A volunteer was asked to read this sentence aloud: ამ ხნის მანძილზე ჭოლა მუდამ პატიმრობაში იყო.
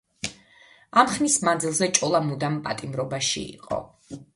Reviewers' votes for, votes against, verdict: 2, 0, accepted